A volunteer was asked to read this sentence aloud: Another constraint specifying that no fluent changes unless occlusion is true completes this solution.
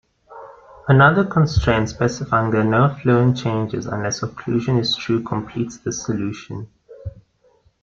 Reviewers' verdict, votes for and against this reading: accepted, 2, 0